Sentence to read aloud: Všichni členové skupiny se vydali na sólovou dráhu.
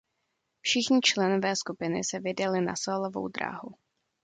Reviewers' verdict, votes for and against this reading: accepted, 2, 0